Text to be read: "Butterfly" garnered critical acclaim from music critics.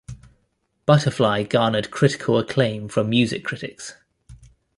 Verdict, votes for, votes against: accepted, 2, 0